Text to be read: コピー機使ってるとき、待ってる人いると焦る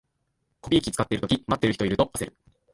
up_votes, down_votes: 1, 2